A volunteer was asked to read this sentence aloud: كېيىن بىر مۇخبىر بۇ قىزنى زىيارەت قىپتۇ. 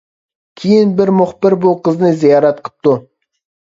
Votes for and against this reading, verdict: 2, 0, accepted